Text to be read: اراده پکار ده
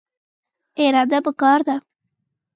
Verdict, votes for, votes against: rejected, 1, 2